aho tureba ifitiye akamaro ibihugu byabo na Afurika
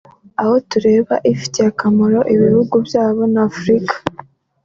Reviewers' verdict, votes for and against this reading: accepted, 2, 0